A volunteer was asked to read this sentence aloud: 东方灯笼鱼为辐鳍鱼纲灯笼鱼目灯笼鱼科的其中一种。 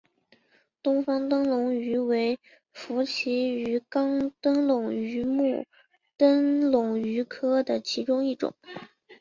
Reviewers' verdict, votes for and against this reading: accepted, 3, 1